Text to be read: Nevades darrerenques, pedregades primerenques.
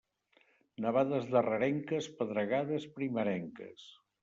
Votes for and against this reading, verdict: 2, 0, accepted